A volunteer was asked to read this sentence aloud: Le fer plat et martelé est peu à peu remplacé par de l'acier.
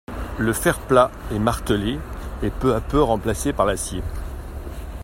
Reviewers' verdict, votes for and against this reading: rejected, 0, 2